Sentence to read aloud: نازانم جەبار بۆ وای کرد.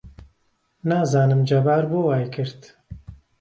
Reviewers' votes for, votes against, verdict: 2, 0, accepted